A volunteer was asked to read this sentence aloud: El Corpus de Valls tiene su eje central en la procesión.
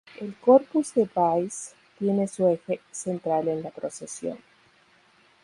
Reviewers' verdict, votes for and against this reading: accepted, 2, 0